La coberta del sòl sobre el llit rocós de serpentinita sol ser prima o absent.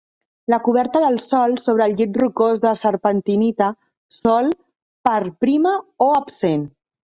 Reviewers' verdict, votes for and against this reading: rejected, 0, 2